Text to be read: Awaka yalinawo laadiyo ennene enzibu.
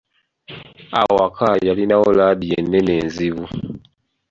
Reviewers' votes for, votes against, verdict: 2, 0, accepted